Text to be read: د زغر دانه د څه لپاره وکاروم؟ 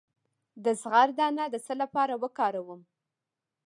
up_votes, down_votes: 2, 0